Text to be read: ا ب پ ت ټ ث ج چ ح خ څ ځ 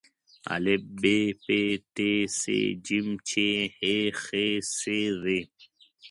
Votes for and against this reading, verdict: 2, 0, accepted